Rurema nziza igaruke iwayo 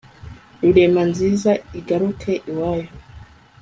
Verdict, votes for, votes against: accepted, 2, 0